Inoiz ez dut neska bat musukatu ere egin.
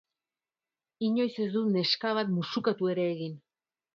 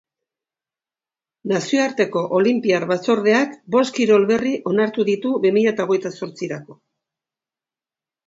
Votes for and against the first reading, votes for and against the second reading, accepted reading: 2, 0, 0, 2, first